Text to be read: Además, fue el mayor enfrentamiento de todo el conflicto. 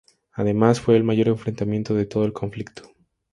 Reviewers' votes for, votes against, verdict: 4, 0, accepted